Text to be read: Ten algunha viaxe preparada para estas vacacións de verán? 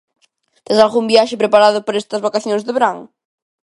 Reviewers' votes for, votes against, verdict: 0, 2, rejected